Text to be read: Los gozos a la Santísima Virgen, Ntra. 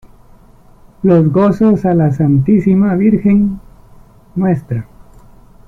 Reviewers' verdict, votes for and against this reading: accepted, 2, 0